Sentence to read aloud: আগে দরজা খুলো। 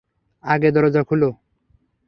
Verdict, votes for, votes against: accepted, 3, 0